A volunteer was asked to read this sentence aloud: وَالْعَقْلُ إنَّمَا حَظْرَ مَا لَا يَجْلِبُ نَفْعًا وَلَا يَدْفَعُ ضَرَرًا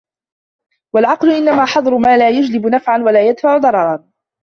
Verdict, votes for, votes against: rejected, 0, 2